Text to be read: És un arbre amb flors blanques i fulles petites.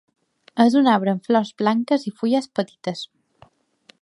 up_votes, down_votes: 2, 0